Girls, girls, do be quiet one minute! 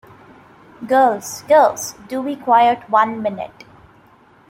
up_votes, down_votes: 2, 1